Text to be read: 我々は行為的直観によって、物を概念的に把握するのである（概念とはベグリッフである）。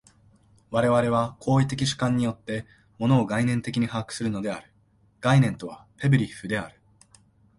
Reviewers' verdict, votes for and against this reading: accepted, 2, 0